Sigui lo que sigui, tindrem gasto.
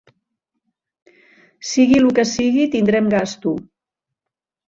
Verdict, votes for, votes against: accepted, 3, 0